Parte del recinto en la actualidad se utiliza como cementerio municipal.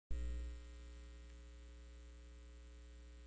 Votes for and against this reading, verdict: 0, 2, rejected